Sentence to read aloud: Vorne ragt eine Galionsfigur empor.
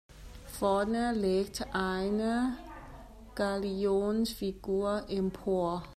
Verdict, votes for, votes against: rejected, 0, 2